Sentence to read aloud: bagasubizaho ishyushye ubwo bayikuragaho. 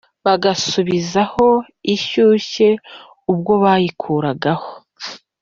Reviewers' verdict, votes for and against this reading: accepted, 2, 0